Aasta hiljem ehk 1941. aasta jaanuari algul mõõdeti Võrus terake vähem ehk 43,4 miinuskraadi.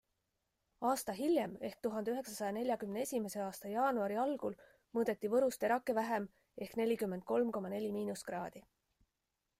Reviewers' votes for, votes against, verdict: 0, 2, rejected